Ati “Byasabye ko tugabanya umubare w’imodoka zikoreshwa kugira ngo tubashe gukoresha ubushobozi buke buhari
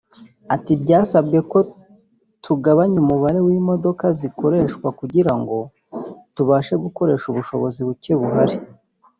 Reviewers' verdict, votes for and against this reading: rejected, 1, 2